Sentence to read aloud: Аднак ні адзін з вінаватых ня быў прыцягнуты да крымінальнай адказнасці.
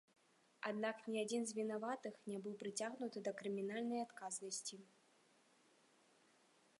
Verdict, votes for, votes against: accepted, 2, 0